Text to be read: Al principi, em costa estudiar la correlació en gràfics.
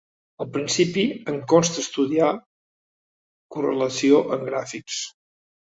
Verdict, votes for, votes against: rejected, 0, 2